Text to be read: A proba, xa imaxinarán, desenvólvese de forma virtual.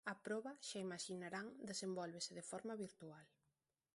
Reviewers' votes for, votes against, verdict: 1, 2, rejected